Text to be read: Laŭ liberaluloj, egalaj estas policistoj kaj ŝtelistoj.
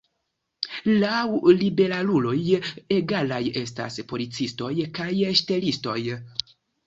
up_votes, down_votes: 2, 0